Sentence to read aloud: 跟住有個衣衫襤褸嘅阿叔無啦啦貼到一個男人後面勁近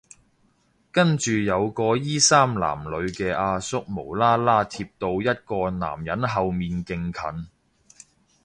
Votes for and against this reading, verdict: 0, 2, rejected